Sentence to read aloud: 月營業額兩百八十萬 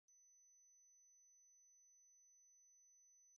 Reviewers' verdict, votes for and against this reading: rejected, 0, 2